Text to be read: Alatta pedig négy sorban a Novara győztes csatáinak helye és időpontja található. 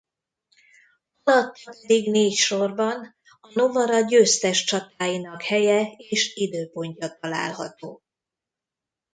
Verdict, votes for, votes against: rejected, 0, 2